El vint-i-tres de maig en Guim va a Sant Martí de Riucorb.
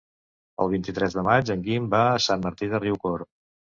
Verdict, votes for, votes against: accepted, 3, 0